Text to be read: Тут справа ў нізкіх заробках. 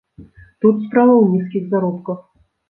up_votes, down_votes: 2, 0